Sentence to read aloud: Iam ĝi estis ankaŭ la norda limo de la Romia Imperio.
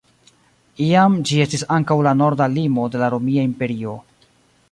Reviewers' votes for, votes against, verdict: 2, 0, accepted